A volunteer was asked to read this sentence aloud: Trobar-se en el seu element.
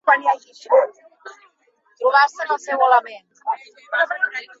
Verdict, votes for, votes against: rejected, 1, 2